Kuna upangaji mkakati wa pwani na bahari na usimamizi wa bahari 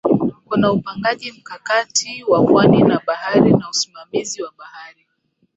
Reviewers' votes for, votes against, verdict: 7, 5, accepted